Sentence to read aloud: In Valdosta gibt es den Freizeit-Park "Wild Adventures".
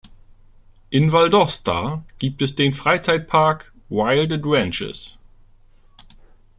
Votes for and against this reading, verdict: 2, 0, accepted